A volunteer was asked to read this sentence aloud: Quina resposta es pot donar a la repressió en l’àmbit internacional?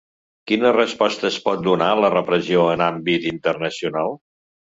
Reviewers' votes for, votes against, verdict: 0, 2, rejected